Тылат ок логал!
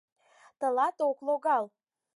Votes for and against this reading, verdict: 4, 0, accepted